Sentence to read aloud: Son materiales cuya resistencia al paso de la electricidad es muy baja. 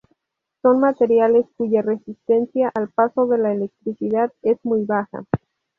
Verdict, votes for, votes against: accepted, 2, 0